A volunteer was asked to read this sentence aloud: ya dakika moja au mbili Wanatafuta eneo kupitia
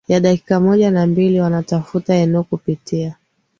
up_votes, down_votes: 2, 0